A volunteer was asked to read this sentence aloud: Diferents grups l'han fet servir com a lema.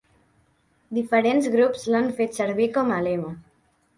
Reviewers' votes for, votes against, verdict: 2, 0, accepted